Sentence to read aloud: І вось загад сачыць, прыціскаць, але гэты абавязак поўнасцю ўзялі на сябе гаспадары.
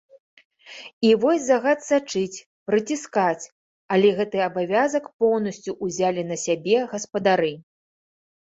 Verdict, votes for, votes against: accepted, 2, 0